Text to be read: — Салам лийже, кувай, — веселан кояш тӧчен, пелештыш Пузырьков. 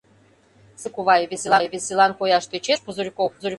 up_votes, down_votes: 0, 2